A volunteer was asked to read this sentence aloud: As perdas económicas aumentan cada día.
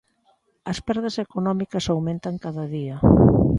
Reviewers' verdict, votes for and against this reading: accepted, 2, 1